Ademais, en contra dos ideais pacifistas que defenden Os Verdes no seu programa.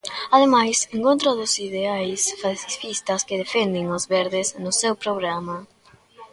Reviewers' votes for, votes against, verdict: 1, 2, rejected